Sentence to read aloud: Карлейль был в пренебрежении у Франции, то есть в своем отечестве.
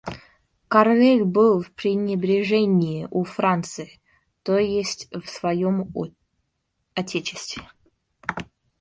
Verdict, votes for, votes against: rejected, 0, 2